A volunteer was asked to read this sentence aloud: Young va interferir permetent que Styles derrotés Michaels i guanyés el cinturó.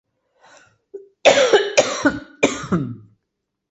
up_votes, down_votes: 0, 2